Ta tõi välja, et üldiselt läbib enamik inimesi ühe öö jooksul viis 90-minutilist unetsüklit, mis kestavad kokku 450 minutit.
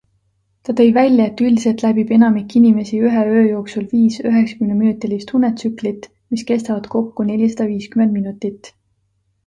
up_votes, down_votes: 0, 2